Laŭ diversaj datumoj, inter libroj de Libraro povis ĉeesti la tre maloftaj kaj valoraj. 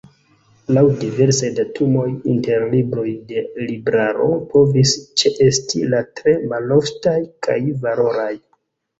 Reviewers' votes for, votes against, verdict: 2, 1, accepted